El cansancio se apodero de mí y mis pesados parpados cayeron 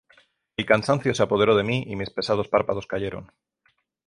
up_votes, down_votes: 0, 3